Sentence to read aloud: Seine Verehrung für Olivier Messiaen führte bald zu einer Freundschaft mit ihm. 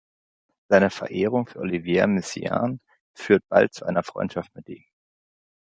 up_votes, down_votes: 1, 2